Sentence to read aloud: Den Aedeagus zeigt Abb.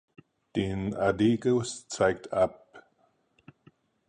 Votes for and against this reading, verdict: 0, 4, rejected